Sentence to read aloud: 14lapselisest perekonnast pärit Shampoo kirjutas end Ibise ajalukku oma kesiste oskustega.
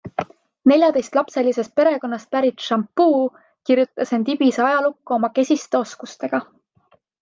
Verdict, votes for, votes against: rejected, 0, 2